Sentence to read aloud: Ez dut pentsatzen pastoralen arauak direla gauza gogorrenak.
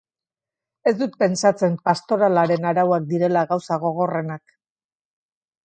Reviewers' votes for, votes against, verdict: 0, 2, rejected